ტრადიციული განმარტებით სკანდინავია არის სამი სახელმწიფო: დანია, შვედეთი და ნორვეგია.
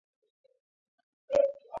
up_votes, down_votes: 0, 2